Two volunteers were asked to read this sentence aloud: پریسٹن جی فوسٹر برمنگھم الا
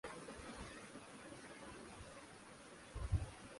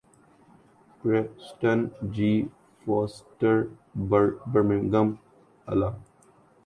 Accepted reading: second